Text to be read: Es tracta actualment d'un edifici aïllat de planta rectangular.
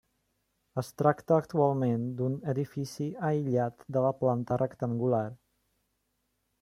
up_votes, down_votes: 0, 2